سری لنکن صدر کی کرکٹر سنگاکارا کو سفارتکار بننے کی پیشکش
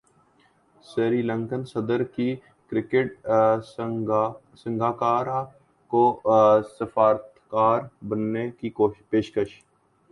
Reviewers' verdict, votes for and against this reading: rejected, 1, 2